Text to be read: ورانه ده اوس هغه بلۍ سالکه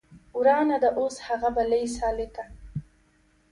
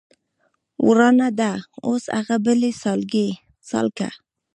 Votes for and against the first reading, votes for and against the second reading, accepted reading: 2, 0, 1, 2, first